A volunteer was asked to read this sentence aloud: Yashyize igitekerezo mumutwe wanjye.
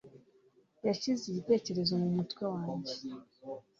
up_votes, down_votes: 3, 0